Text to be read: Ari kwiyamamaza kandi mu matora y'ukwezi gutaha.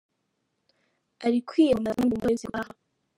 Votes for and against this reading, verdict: 0, 3, rejected